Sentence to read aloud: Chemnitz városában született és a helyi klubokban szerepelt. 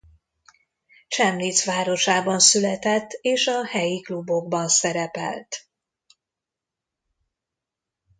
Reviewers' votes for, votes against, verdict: 1, 2, rejected